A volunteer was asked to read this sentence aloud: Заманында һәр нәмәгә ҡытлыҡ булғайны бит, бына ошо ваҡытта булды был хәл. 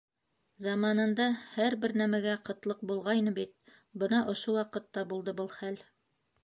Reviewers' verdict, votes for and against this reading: rejected, 0, 2